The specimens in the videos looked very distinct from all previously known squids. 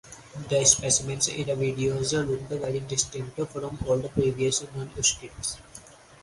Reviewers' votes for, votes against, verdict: 2, 2, rejected